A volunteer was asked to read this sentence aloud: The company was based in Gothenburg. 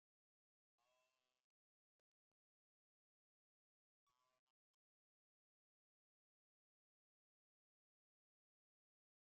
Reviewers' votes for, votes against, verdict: 0, 2, rejected